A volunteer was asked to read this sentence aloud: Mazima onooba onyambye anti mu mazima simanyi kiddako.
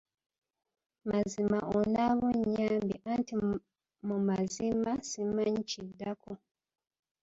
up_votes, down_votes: 0, 2